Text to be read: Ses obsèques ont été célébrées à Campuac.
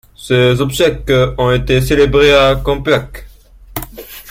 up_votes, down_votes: 2, 1